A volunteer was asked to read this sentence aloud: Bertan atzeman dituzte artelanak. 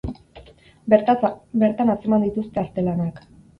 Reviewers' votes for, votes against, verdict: 0, 4, rejected